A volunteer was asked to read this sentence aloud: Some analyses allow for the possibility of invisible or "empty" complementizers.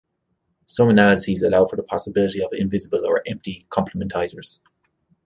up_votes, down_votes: 2, 0